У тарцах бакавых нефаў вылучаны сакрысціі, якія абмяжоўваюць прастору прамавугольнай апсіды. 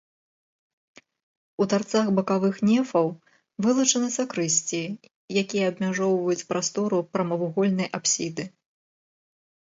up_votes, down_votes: 2, 0